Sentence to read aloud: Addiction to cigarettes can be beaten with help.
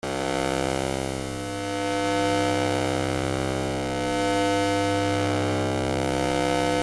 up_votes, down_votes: 0, 2